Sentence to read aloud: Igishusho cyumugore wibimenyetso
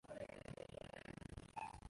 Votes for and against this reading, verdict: 0, 2, rejected